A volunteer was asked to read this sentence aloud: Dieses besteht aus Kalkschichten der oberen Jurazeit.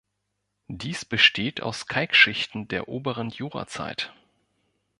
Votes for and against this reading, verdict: 0, 2, rejected